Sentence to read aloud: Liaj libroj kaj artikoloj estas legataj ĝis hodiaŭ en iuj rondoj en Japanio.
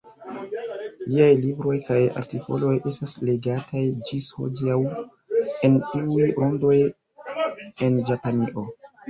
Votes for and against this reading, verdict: 0, 2, rejected